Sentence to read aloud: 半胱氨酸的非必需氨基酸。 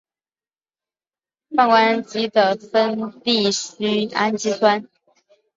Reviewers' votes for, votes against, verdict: 2, 3, rejected